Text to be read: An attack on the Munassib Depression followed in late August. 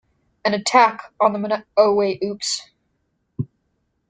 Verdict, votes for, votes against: rejected, 0, 2